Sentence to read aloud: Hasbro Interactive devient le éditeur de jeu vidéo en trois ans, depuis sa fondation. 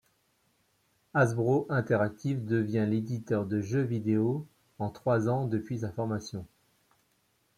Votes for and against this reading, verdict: 0, 2, rejected